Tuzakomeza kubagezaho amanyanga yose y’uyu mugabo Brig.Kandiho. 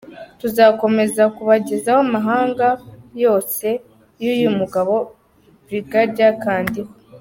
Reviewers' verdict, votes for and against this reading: accepted, 2, 0